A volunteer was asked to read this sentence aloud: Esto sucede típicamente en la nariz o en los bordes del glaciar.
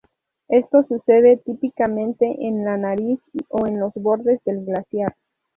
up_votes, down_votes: 2, 0